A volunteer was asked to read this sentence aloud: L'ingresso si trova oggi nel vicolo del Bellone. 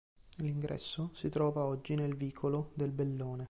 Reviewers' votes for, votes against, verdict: 2, 0, accepted